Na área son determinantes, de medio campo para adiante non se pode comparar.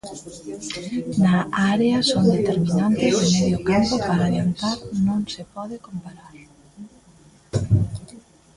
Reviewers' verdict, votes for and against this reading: rejected, 0, 2